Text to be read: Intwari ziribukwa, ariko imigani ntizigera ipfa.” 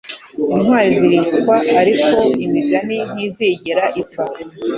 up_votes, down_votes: 2, 0